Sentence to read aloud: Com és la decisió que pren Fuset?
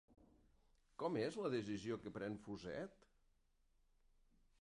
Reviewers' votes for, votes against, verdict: 0, 2, rejected